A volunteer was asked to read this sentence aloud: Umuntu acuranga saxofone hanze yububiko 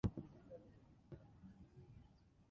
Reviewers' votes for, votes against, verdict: 0, 2, rejected